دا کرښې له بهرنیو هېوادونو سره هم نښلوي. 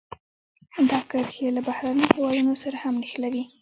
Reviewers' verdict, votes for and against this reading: rejected, 1, 2